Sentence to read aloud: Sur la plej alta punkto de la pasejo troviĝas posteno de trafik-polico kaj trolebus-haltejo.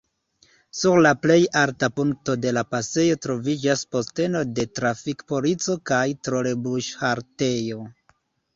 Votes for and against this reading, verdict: 2, 0, accepted